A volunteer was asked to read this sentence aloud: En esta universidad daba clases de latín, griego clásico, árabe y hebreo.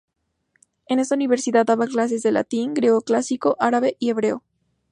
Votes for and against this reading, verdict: 2, 0, accepted